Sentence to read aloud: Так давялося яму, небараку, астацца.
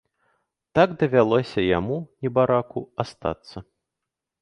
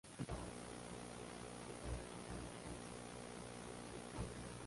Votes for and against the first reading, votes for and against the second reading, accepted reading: 2, 0, 0, 2, first